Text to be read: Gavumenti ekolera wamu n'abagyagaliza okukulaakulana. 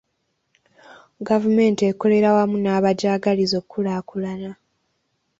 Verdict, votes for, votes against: accepted, 2, 1